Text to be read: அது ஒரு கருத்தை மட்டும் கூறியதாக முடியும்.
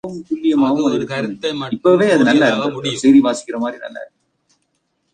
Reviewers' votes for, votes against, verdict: 0, 3, rejected